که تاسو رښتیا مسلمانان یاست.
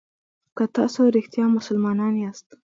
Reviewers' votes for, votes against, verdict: 2, 1, accepted